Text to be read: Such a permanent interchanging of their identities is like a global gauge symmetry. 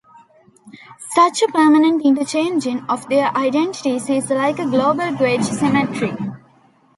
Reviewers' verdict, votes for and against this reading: rejected, 1, 2